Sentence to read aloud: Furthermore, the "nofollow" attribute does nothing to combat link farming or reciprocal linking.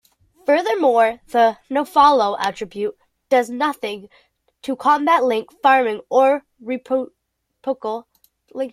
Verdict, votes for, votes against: rejected, 0, 2